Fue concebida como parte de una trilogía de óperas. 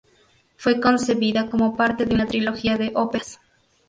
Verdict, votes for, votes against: rejected, 0, 2